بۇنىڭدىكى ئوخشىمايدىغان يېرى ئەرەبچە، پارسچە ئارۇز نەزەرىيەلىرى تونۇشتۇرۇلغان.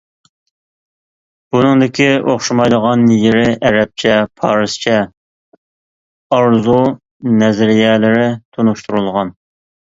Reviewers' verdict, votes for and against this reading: rejected, 0, 2